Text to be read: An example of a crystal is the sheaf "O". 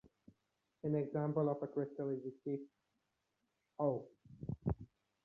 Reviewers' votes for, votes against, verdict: 2, 0, accepted